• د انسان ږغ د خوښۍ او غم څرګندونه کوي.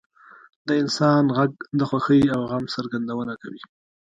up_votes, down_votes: 2, 0